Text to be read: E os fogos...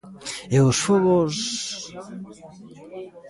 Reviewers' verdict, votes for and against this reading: accepted, 2, 0